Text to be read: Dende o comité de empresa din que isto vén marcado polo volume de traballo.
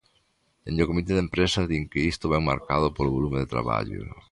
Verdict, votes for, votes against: accepted, 3, 0